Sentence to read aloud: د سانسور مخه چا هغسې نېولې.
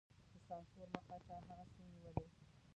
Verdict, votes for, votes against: rejected, 0, 2